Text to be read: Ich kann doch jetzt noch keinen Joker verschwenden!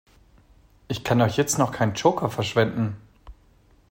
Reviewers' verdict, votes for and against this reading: accepted, 2, 1